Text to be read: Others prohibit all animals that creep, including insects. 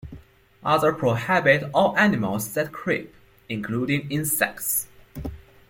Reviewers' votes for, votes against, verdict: 2, 1, accepted